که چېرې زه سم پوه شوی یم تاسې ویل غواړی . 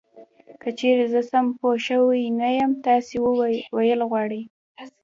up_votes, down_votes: 2, 0